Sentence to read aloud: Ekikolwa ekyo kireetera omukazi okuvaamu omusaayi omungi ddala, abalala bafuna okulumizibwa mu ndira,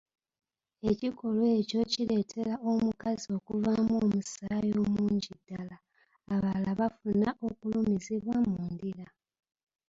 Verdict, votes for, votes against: rejected, 0, 2